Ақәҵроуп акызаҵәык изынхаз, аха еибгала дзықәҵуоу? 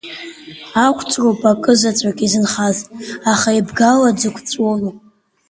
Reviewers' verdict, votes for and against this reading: rejected, 0, 3